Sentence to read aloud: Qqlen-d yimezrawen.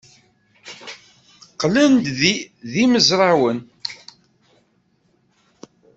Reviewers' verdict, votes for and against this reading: rejected, 0, 3